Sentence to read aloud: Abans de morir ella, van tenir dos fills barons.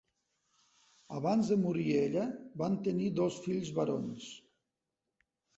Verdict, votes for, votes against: accepted, 2, 0